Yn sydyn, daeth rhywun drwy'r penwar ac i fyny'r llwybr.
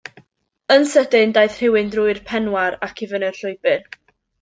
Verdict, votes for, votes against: accepted, 2, 0